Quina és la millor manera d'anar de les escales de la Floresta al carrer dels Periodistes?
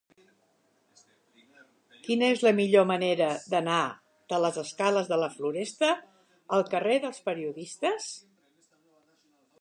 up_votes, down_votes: 4, 0